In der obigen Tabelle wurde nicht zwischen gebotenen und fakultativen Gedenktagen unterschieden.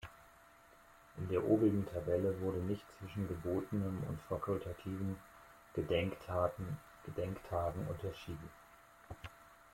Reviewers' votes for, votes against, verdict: 0, 2, rejected